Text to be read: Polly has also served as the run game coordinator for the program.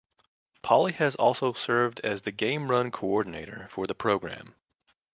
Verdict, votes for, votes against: rejected, 1, 2